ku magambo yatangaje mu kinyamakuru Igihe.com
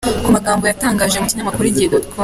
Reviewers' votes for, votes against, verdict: 0, 2, rejected